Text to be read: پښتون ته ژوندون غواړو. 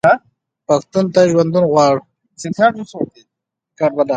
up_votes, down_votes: 2, 0